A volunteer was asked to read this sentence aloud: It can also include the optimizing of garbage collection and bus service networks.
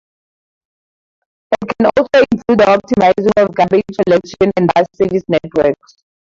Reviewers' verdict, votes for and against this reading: rejected, 0, 2